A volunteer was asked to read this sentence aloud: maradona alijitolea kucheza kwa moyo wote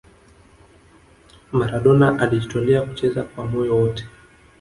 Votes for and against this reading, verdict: 1, 2, rejected